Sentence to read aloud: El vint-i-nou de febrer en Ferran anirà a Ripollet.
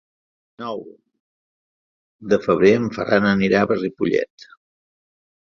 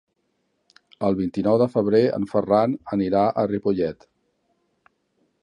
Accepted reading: second